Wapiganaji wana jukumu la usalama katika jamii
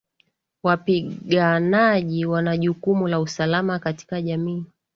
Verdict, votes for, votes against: accepted, 14, 0